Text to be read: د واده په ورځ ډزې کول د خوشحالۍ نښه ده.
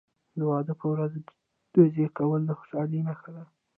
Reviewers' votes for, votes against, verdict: 2, 1, accepted